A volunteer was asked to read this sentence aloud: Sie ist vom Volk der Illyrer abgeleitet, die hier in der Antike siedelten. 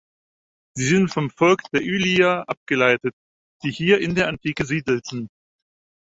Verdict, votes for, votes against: rejected, 2, 4